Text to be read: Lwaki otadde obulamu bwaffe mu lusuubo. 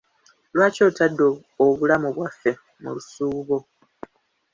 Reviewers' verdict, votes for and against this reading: rejected, 1, 2